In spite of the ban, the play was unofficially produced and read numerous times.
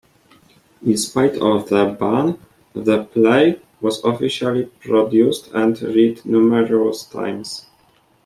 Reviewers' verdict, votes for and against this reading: rejected, 1, 2